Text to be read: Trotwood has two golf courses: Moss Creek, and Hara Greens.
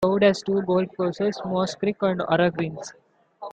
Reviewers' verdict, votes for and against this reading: rejected, 1, 2